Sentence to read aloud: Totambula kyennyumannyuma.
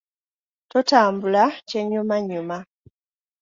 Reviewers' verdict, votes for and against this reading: accepted, 2, 0